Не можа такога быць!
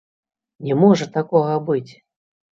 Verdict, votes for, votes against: accepted, 2, 0